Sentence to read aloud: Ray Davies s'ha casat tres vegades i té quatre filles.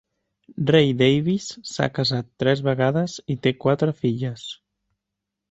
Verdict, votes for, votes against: accepted, 2, 0